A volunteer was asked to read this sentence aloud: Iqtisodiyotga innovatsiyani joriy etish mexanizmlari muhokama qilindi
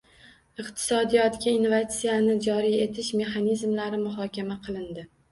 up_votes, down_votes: 1, 2